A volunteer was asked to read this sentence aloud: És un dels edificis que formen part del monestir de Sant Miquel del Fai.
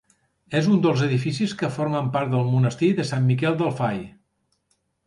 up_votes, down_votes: 4, 0